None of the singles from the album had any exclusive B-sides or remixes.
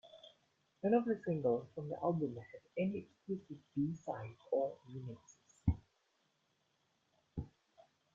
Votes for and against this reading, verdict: 1, 2, rejected